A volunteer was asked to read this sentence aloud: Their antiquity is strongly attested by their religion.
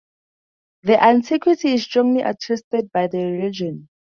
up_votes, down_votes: 2, 0